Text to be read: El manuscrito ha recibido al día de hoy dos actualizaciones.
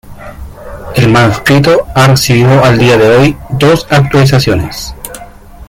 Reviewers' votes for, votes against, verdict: 0, 2, rejected